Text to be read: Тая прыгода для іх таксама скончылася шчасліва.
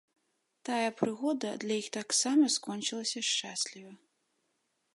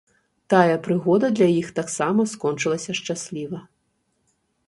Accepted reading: second